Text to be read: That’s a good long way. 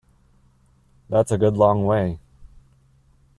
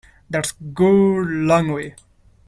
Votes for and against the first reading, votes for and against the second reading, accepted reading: 2, 0, 1, 2, first